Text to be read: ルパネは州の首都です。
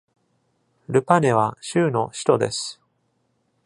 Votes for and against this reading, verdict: 2, 0, accepted